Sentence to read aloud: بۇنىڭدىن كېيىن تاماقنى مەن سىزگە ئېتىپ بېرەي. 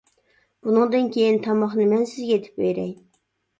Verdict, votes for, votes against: accepted, 2, 0